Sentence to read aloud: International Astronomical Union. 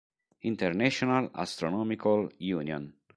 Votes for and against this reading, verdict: 2, 0, accepted